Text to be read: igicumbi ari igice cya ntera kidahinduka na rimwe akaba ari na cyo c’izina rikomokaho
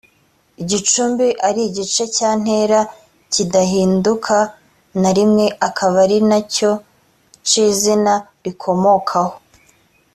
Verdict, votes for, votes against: accepted, 2, 0